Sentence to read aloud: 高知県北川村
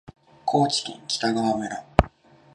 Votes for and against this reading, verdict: 2, 0, accepted